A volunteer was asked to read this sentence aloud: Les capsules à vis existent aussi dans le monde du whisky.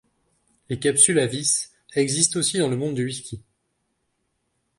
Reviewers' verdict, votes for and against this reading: accepted, 2, 0